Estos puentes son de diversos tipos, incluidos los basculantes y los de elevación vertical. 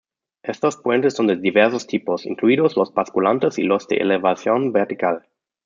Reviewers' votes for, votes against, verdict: 2, 0, accepted